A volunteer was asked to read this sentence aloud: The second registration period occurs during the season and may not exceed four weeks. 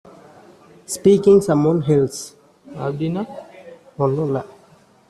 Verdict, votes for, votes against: rejected, 0, 2